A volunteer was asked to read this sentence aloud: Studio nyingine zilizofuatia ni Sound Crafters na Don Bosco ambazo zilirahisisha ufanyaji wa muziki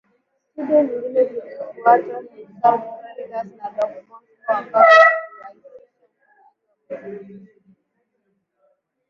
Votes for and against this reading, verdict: 0, 8, rejected